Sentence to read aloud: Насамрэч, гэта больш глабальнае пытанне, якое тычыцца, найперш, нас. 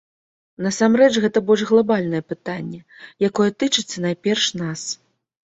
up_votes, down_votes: 2, 0